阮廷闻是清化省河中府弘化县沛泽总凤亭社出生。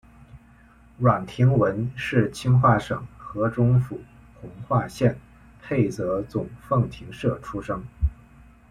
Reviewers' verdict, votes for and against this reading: accepted, 2, 0